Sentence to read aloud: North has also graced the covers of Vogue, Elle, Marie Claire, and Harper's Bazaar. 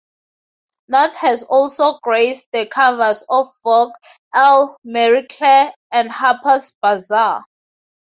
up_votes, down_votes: 4, 0